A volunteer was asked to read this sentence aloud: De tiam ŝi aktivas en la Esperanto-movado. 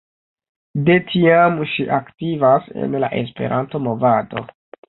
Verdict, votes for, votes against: rejected, 0, 2